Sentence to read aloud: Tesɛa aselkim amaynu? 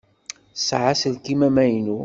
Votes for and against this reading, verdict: 2, 0, accepted